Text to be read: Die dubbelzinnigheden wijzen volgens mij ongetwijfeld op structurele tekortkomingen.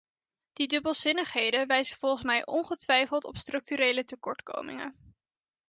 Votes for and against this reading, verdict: 2, 0, accepted